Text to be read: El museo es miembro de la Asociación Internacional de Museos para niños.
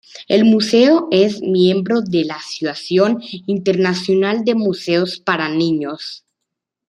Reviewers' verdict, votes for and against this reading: accepted, 2, 0